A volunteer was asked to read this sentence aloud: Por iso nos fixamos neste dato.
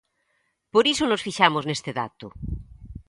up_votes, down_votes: 4, 0